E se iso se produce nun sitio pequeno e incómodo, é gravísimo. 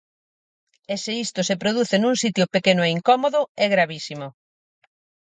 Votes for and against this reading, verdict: 0, 6, rejected